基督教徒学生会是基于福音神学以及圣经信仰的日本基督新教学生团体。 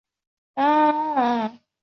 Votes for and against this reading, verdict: 0, 2, rejected